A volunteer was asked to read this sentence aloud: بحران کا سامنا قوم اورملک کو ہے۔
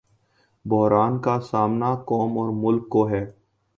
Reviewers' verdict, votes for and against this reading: accepted, 2, 0